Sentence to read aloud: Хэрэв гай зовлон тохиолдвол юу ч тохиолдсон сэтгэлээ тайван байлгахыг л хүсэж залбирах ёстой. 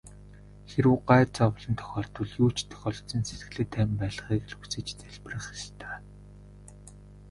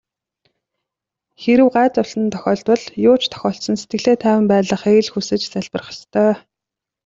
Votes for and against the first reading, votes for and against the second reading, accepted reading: 1, 2, 2, 0, second